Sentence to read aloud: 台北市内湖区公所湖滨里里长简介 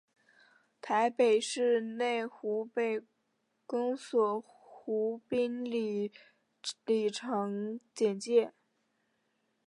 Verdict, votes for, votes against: rejected, 1, 2